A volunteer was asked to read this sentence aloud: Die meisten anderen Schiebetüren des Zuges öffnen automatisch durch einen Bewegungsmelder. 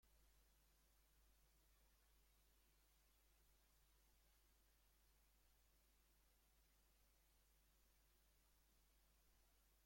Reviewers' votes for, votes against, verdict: 0, 2, rejected